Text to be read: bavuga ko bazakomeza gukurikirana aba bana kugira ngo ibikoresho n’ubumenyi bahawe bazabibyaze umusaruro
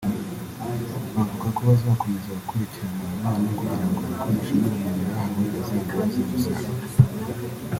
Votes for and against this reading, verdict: 1, 2, rejected